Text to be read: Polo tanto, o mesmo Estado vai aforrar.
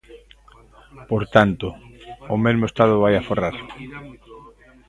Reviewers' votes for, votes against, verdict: 0, 2, rejected